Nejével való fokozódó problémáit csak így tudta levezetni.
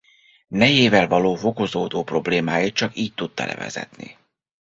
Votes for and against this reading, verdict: 1, 2, rejected